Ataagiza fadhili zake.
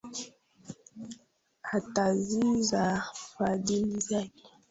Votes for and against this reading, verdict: 2, 1, accepted